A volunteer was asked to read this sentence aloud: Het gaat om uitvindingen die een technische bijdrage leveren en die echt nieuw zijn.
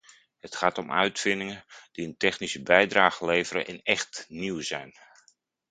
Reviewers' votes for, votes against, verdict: 0, 2, rejected